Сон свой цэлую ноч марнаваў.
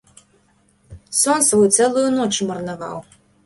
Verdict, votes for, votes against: accepted, 2, 0